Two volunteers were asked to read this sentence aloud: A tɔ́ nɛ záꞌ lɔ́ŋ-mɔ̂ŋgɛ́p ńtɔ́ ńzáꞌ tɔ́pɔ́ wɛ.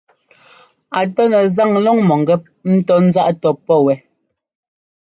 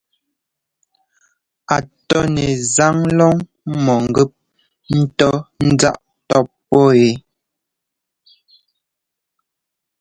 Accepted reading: second